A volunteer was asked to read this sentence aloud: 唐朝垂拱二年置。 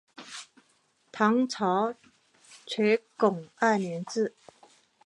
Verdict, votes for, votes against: accepted, 4, 1